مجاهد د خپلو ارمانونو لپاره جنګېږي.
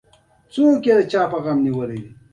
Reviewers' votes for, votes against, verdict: 2, 1, accepted